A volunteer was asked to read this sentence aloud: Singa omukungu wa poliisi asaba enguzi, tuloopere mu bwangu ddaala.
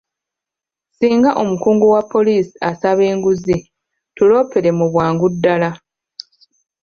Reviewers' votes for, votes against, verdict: 2, 1, accepted